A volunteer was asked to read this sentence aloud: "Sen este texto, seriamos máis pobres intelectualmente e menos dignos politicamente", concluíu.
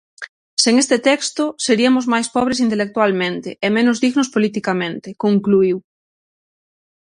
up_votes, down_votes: 3, 6